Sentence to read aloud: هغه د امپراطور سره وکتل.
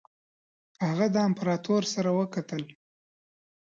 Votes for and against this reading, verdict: 2, 0, accepted